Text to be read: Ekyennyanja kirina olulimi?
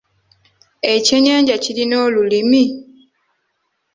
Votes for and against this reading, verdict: 2, 1, accepted